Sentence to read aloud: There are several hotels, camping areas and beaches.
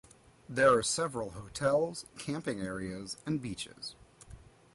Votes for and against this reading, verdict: 2, 0, accepted